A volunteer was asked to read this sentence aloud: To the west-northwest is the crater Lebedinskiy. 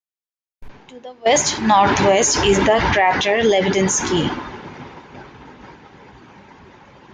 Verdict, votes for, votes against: rejected, 0, 2